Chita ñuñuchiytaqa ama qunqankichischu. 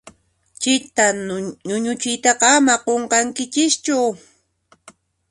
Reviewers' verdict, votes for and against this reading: accepted, 2, 0